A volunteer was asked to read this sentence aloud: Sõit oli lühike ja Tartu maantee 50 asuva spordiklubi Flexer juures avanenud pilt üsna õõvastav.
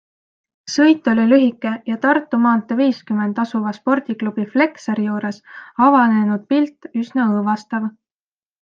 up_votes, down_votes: 0, 2